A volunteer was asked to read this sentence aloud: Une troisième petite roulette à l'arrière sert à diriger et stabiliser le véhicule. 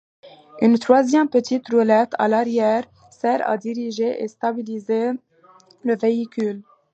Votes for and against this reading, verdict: 2, 0, accepted